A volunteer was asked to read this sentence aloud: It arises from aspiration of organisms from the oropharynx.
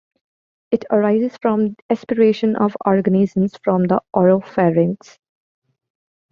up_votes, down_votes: 2, 0